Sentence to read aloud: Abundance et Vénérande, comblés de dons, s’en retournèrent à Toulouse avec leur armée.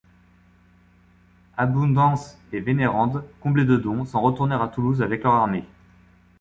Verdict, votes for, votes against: accepted, 2, 0